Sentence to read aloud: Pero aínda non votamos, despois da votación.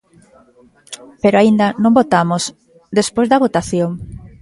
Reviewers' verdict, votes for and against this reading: rejected, 1, 2